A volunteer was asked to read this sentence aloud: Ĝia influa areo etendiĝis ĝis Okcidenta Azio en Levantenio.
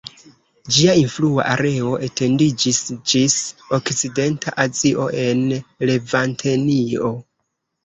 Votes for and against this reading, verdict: 2, 1, accepted